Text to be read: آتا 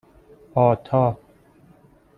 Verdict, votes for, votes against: accepted, 2, 0